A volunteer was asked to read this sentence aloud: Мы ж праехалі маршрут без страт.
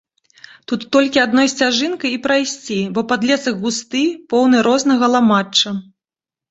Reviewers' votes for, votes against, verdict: 0, 3, rejected